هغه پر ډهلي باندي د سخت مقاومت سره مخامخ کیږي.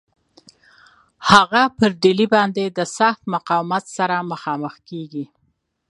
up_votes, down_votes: 2, 0